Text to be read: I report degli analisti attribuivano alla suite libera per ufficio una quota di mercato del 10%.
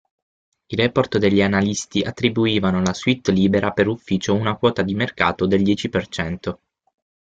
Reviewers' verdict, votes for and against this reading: rejected, 0, 2